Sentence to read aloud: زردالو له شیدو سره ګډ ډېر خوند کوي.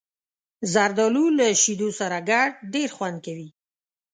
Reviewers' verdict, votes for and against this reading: rejected, 1, 2